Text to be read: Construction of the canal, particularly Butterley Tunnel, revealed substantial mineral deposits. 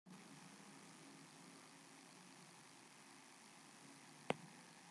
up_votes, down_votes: 0, 2